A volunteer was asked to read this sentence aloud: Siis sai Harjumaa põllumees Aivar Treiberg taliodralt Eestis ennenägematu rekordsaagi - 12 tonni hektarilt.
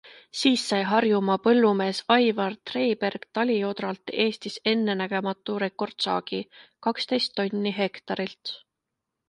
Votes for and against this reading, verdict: 0, 2, rejected